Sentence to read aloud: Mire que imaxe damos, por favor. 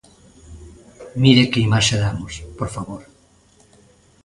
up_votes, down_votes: 2, 0